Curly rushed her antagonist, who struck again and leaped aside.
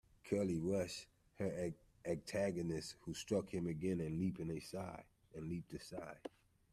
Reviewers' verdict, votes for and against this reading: rejected, 0, 2